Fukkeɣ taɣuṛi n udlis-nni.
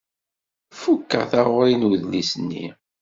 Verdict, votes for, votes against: accepted, 2, 0